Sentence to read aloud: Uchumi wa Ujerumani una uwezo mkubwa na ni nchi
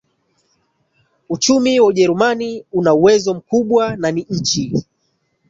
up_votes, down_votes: 1, 2